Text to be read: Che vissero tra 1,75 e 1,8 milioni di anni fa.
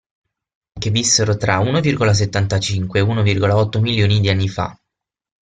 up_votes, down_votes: 0, 2